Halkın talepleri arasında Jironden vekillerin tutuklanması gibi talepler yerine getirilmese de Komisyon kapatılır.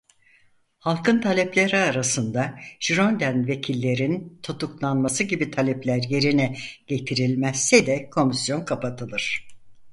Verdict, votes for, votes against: rejected, 0, 4